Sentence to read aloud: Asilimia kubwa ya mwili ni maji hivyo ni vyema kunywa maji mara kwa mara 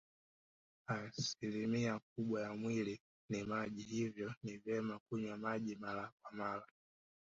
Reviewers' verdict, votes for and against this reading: rejected, 0, 2